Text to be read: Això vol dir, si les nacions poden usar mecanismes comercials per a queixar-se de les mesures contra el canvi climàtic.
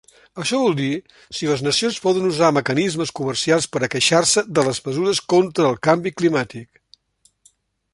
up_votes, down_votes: 3, 0